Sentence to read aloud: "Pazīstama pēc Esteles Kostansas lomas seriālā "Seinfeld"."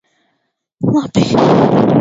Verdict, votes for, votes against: rejected, 0, 2